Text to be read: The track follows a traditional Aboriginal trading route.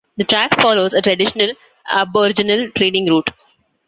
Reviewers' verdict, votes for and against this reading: accepted, 2, 0